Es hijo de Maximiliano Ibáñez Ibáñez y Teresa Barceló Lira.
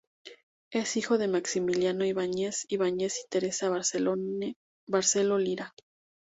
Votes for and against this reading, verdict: 2, 0, accepted